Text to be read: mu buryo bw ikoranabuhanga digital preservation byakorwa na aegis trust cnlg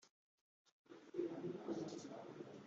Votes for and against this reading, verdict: 1, 2, rejected